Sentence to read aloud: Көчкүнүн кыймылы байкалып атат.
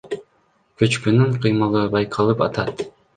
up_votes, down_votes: 1, 2